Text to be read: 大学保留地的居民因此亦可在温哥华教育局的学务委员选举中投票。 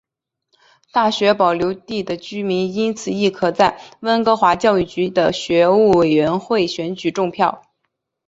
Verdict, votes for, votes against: accepted, 2, 1